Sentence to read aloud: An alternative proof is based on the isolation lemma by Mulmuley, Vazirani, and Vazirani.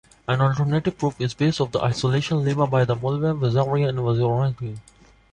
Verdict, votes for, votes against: rejected, 1, 2